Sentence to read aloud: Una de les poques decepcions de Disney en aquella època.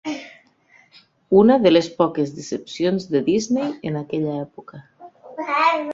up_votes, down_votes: 0, 2